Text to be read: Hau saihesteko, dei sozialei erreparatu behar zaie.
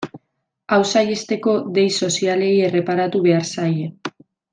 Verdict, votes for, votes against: rejected, 1, 2